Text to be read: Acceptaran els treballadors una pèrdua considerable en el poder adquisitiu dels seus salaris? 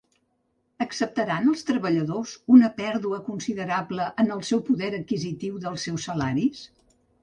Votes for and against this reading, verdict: 0, 2, rejected